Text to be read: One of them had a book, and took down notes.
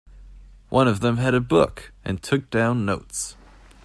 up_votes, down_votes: 2, 0